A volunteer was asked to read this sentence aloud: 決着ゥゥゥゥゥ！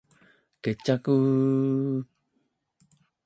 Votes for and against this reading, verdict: 2, 1, accepted